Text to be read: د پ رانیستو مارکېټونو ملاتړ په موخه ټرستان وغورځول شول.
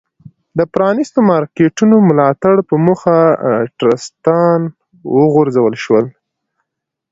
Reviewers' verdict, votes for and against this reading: accepted, 2, 0